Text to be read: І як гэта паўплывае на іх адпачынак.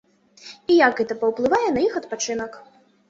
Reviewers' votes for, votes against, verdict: 2, 0, accepted